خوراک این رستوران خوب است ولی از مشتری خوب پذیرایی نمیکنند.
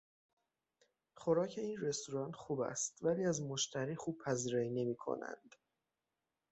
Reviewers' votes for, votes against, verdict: 6, 0, accepted